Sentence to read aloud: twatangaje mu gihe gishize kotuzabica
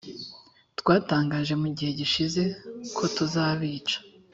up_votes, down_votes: 3, 0